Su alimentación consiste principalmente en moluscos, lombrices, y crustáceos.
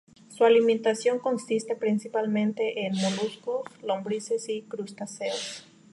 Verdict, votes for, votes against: rejected, 2, 2